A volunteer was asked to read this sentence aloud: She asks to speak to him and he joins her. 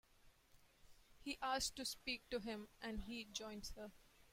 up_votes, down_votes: 2, 1